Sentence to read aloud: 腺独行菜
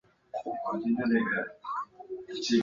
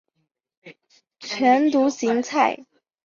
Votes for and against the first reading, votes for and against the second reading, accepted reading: 0, 3, 2, 1, second